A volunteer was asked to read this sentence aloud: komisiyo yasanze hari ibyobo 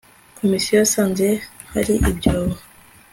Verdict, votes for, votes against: accepted, 3, 0